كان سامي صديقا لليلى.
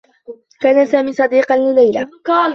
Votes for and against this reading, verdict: 1, 2, rejected